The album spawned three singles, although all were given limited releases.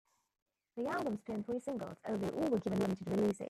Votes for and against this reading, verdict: 0, 2, rejected